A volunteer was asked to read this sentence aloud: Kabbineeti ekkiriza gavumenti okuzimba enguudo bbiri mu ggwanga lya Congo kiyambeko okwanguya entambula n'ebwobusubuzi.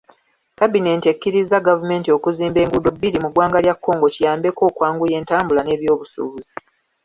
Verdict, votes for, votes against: accepted, 2, 0